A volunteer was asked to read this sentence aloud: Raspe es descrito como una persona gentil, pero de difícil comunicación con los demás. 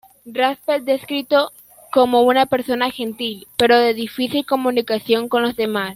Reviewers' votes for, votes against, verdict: 2, 0, accepted